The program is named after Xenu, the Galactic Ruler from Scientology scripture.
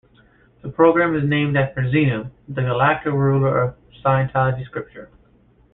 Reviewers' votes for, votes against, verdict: 0, 2, rejected